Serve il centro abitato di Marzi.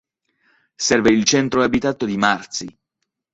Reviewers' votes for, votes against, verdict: 3, 0, accepted